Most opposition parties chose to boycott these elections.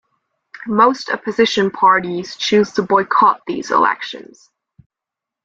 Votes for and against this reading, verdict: 1, 2, rejected